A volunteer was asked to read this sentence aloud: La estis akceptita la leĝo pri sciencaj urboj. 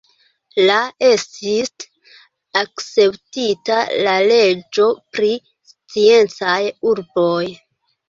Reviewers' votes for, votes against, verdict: 2, 1, accepted